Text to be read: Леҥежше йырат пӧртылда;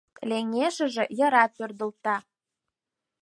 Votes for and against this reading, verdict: 2, 4, rejected